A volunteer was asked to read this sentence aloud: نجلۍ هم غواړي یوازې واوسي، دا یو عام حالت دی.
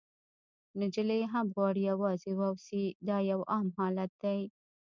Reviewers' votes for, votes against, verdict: 0, 2, rejected